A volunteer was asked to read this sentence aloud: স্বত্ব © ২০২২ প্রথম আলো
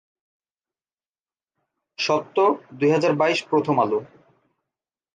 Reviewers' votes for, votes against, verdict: 0, 2, rejected